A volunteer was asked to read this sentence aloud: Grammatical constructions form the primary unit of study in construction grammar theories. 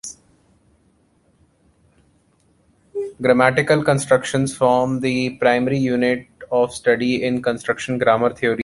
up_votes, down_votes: 2, 1